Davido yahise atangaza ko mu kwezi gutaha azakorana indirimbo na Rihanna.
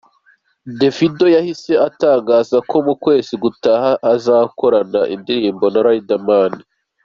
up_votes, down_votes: 0, 2